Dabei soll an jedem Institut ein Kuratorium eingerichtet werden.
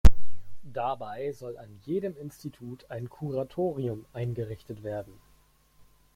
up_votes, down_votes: 1, 2